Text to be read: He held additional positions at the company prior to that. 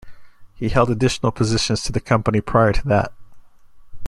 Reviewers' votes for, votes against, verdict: 0, 2, rejected